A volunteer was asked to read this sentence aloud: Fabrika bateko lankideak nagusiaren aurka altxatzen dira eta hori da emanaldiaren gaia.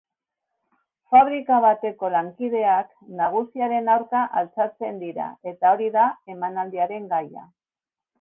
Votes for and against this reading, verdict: 2, 0, accepted